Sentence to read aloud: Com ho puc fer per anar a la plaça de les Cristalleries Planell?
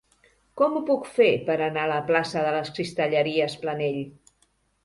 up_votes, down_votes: 3, 0